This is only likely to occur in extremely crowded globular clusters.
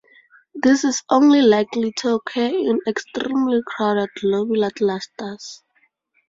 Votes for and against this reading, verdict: 4, 0, accepted